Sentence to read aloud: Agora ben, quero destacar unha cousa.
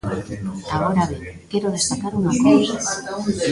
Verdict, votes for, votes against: rejected, 0, 2